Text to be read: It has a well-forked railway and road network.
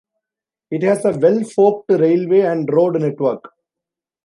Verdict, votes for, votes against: accepted, 2, 0